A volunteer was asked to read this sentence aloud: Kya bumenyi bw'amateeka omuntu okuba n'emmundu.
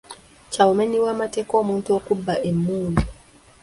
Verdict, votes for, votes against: rejected, 1, 2